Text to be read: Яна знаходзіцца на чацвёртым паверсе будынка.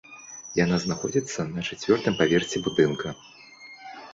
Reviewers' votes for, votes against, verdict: 2, 0, accepted